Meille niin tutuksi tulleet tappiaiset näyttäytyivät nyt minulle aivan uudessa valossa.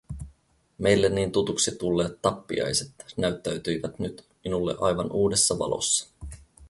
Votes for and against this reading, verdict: 2, 0, accepted